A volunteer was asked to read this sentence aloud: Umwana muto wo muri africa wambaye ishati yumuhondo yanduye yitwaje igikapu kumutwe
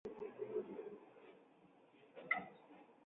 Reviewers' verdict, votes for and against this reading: rejected, 0, 2